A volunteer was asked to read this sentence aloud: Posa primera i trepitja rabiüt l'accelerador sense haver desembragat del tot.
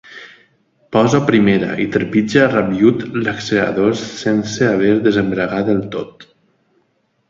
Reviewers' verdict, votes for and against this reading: accepted, 2, 0